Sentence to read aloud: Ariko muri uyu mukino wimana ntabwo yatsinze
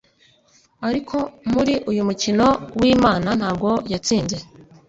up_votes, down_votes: 2, 0